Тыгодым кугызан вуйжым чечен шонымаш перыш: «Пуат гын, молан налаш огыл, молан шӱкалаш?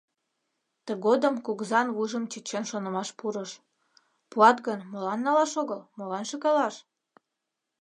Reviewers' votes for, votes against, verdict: 0, 2, rejected